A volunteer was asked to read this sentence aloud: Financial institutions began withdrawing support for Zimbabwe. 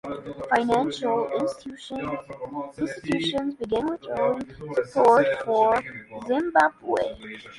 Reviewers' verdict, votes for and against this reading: accepted, 2, 0